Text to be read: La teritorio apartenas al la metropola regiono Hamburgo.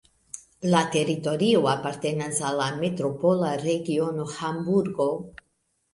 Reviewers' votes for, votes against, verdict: 0, 2, rejected